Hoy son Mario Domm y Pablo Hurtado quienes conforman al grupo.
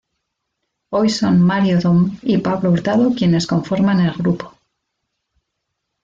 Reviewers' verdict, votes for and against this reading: accepted, 2, 0